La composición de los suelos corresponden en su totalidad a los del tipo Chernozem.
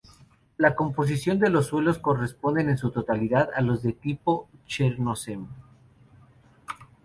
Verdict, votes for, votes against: rejected, 0, 2